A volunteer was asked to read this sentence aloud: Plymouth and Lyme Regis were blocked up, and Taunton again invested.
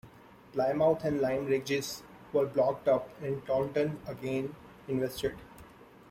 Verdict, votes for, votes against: rejected, 0, 2